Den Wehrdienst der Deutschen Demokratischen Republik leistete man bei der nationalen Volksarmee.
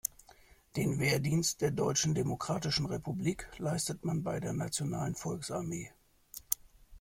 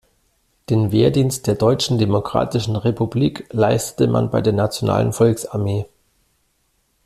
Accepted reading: second